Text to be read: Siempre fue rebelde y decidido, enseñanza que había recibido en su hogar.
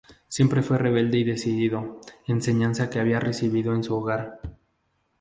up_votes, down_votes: 4, 0